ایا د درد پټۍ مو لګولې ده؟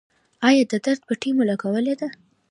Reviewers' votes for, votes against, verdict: 2, 0, accepted